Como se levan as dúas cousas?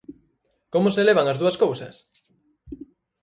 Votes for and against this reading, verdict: 4, 0, accepted